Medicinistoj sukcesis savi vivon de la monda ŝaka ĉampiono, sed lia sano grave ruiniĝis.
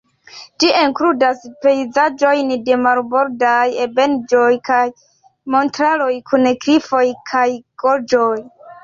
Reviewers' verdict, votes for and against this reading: rejected, 0, 3